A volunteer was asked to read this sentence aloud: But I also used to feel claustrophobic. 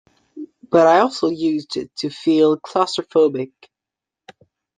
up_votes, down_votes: 1, 2